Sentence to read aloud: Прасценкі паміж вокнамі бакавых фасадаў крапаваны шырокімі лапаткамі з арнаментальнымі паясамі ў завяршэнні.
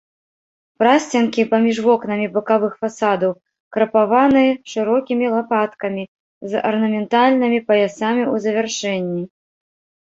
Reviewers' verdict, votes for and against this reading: rejected, 0, 2